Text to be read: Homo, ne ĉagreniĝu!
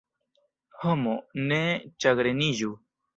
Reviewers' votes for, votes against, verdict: 2, 0, accepted